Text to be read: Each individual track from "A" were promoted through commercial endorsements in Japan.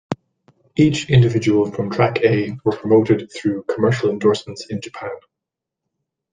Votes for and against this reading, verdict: 1, 2, rejected